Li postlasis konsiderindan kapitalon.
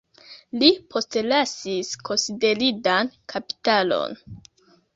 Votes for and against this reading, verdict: 0, 2, rejected